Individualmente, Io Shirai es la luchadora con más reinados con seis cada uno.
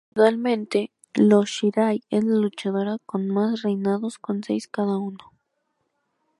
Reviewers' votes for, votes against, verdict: 2, 0, accepted